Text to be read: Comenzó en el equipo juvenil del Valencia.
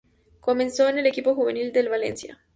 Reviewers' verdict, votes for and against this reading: accepted, 2, 0